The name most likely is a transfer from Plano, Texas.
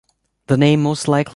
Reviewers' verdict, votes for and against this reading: rejected, 0, 2